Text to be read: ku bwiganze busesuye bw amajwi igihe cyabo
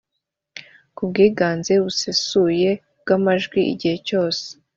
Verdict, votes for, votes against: rejected, 0, 2